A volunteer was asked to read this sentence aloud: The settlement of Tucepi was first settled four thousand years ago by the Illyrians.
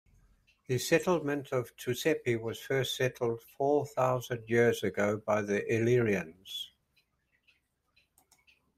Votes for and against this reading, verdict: 2, 0, accepted